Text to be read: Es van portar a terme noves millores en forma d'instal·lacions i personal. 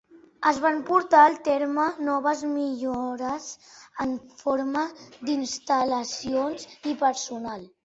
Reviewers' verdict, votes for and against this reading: rejected, 1, 2